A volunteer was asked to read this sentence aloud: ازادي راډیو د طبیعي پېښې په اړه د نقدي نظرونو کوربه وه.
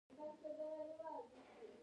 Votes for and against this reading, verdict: 1, 2, rejected